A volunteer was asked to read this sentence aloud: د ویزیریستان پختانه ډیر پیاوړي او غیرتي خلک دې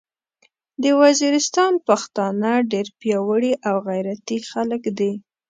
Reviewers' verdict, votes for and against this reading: accepted, 2, 0